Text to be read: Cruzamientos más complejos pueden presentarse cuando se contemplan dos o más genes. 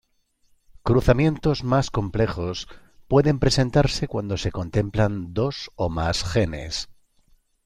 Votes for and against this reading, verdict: 2, 0, accepted